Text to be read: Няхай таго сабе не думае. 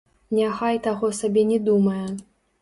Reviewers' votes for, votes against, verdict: 1, 2, rejected